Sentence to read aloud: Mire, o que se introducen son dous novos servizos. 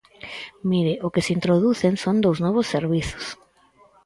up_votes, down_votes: 4, 0